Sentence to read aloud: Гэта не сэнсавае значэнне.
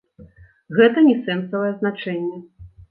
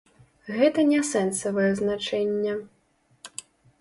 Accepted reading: first